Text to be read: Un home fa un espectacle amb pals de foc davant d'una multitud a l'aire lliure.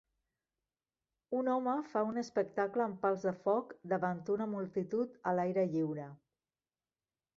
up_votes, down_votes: 1, 2